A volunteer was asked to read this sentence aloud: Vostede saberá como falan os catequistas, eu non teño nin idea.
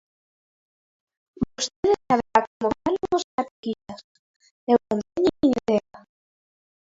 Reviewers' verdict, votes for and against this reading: rejected, 0, 2